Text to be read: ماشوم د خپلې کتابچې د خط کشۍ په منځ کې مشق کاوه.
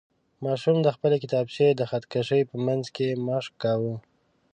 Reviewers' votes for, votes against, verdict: 2, 0, accepted